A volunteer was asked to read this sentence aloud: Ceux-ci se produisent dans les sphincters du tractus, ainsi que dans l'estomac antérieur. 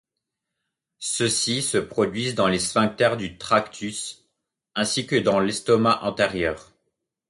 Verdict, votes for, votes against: accepted, 2, 0